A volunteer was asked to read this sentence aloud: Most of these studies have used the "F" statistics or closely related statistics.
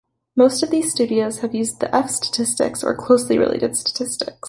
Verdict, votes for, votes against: accepted, 2, 0